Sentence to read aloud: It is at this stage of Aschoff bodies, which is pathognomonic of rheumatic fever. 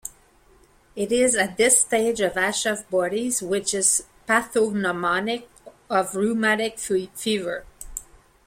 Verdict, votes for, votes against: accepted, 2, 0